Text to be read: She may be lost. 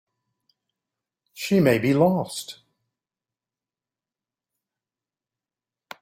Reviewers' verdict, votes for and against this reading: accepted, 2, 0